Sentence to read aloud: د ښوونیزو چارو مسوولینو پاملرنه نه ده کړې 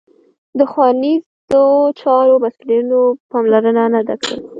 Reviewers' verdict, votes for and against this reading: rejected, 1, 2